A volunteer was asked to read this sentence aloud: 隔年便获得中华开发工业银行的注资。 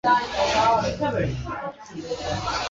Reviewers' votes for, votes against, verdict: 0, 2, rejected